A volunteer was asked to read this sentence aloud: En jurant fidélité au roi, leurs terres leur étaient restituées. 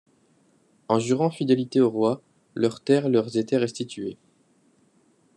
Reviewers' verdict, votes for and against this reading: rejected, 0, 2